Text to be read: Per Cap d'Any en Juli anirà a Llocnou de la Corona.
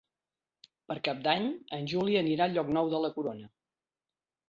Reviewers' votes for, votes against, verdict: 2, 0, accepted